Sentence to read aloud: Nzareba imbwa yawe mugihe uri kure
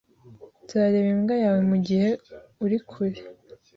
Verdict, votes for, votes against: accepted, 2, 0